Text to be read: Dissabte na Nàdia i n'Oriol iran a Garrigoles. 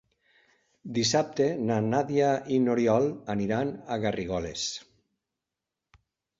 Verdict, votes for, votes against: rejected, 1, 2